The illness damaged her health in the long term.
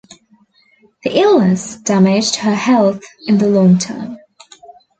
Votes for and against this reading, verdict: 2, 0, accepted